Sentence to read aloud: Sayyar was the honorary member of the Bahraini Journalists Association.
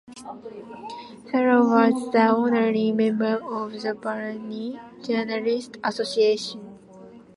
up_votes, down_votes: 2, 1